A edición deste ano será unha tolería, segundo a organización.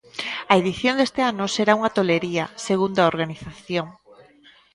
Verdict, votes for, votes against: rejected, 0, 2